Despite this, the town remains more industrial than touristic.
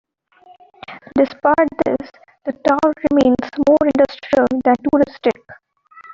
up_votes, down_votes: 2, 0